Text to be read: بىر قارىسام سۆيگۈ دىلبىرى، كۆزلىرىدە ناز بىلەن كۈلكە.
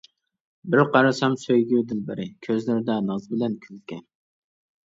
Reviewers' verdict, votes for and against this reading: accepted, 2, 0